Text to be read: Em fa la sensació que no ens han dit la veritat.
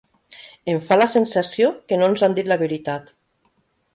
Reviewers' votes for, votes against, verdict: 4, 1, accepted